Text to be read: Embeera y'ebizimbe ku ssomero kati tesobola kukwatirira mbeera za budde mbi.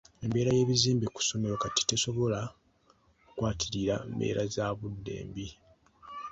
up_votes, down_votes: 2, 0